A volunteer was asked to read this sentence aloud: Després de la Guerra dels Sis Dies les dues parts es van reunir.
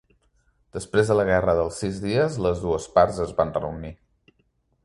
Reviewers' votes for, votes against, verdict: 2, 0, accepted